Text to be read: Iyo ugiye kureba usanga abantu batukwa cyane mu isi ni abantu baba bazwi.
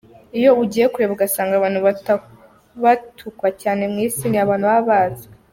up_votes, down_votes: 0, 2